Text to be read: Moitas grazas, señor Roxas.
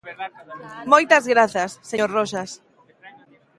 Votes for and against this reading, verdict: 2, 0, accepted